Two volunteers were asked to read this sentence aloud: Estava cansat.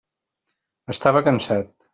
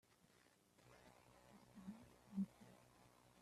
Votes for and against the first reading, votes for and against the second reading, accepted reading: 3, 0, 0, 2, first